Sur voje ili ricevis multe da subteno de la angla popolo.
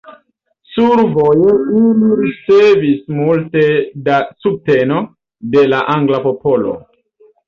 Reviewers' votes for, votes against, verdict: 1, 2, rejected